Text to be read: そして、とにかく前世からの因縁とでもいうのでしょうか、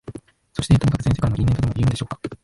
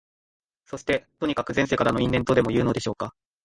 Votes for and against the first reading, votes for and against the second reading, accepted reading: 0, 2, 2, 0, second